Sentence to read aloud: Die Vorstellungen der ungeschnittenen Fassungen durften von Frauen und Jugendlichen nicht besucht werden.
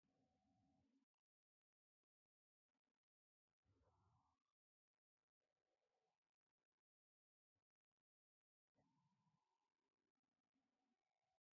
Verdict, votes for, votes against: rejected, 0, 2